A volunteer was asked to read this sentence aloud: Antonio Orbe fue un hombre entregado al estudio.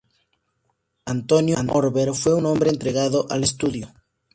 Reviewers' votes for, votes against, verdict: 2, 0, accepted